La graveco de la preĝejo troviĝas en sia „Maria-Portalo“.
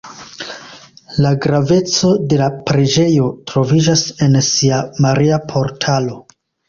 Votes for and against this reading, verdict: 2, 1, accepted